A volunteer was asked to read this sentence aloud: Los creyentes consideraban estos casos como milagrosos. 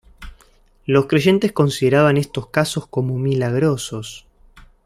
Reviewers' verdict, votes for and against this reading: accepted, 2, 0